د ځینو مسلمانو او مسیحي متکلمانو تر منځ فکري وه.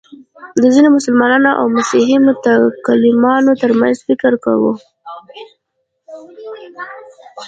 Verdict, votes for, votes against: accepted, 2, 0